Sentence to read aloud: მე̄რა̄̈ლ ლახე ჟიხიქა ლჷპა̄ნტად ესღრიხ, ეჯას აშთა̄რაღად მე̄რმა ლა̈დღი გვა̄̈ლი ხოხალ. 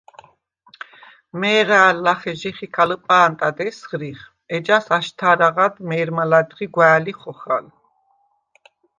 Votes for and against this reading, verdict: 2, 0, accepted